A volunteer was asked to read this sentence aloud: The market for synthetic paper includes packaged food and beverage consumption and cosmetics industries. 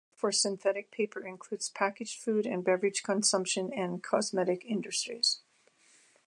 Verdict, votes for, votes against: rejected, 0, 2